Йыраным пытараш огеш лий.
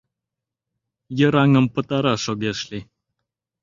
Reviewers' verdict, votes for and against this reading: accepted, 2, 0